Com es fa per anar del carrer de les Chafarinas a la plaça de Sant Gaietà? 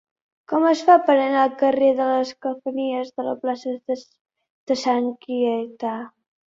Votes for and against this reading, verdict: 0, 2, rejected